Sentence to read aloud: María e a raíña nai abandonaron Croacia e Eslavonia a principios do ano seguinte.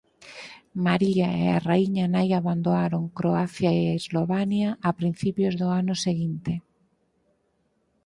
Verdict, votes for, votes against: rejected, 2, 4